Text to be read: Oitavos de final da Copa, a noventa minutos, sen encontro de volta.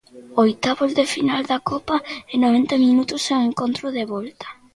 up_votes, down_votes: 0, 2